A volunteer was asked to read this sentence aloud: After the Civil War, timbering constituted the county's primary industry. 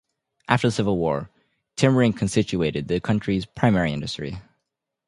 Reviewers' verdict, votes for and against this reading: rejected, 0, 2